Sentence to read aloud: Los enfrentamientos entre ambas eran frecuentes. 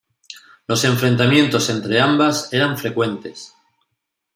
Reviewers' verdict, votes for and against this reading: rejected, 1, 2